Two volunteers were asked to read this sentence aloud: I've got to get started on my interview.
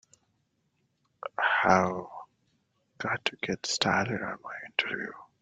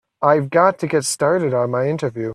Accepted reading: second